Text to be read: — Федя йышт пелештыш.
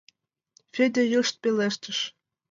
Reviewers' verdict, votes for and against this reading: accepted, 2, 1